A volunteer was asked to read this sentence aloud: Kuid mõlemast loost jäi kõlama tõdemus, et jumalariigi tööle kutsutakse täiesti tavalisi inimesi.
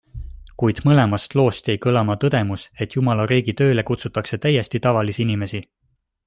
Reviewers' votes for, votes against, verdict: 2, 0, accepted